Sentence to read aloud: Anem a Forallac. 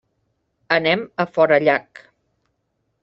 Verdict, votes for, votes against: accepted, 3, 0